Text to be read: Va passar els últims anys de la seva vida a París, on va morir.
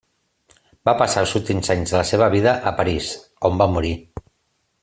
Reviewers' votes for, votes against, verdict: 3, 0, accepted